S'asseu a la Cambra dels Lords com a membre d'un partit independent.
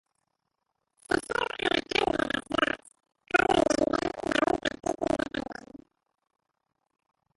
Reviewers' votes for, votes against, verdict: 0, 2, rejected